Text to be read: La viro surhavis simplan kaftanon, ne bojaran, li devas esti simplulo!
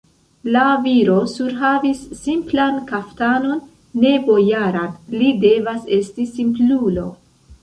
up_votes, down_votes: 2, 0